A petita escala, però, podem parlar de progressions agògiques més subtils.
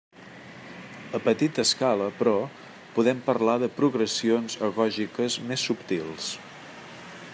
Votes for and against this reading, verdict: 2, 0, accepted